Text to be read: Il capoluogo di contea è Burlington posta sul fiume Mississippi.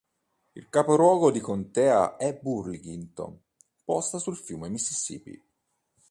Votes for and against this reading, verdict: 2, 1, accepted